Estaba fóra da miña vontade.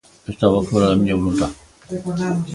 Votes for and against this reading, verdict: 0, 2, rejected